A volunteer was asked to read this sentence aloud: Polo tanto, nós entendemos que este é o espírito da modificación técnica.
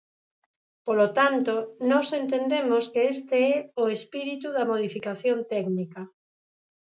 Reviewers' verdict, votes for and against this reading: rejected, 2, 2